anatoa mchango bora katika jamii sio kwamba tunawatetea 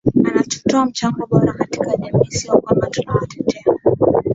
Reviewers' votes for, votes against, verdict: 6, 16, rejected